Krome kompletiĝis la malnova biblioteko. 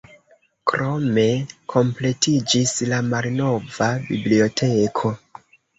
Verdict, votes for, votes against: accepted, 2, 0